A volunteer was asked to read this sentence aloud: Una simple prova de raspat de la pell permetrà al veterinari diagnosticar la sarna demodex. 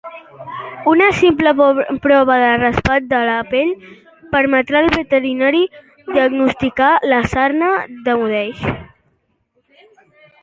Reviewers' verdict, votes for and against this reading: rejected, 0, 2